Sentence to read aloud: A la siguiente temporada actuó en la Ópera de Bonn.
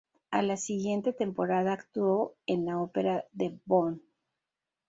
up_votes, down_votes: 10, 0